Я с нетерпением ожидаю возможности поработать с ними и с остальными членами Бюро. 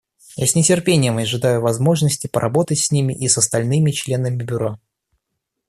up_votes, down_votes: 2, 0